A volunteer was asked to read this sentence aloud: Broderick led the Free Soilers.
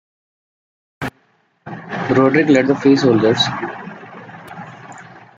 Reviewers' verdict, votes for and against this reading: rejected, 0, 2